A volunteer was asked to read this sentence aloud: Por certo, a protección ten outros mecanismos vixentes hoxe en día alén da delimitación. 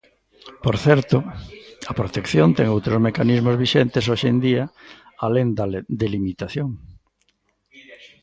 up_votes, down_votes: 0, 2